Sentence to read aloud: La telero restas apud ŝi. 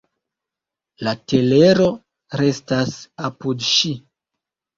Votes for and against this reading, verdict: 1, 2, rejected